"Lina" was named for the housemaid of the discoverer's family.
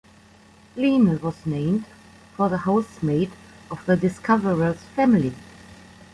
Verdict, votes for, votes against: accepted, 2, 0